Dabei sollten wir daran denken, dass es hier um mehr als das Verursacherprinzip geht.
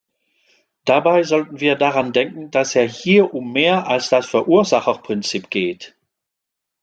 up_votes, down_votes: 0, 2